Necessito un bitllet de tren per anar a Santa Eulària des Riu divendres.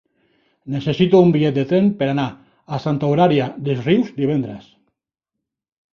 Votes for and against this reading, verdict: 0, 2, rejected